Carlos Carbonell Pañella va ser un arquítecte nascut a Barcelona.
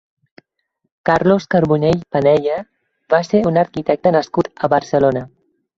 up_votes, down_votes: 0, 4